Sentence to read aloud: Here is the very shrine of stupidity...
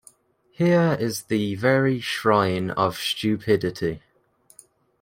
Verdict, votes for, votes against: accepted, 2, 0